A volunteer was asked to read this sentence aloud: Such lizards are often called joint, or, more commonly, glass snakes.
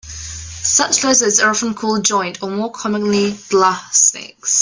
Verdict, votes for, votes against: accepted, 3, 0